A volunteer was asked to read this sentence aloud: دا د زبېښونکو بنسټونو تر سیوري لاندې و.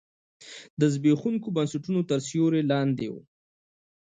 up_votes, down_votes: 2, 0